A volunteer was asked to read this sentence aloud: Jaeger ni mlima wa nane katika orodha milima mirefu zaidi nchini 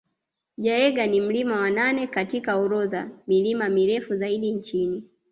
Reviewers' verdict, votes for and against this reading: accepted, 2, 0